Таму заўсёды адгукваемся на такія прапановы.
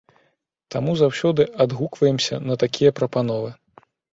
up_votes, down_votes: 2, 0